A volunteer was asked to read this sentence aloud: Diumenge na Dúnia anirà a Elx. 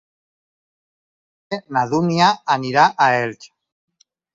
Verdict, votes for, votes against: rejected, 0, 4